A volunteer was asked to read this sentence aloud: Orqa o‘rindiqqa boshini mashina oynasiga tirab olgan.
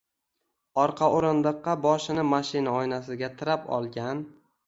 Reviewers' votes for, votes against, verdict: 1, 2, rejected